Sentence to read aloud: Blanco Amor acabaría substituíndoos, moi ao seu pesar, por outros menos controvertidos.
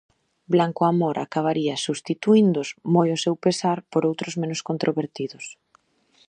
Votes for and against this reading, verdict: 2, 0, accepted